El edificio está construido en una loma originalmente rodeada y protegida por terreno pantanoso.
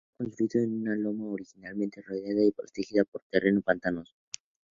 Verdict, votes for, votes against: rejected, 0, 4